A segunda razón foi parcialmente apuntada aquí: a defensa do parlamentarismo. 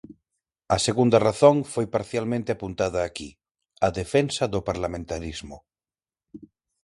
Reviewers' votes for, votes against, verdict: 6, 0, accepted